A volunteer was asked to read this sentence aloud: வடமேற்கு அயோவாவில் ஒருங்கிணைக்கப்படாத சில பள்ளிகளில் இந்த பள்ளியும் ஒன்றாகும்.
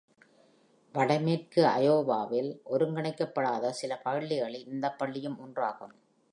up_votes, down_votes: 2, 0